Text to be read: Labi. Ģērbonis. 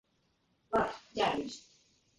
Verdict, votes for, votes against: rejected, 0, 2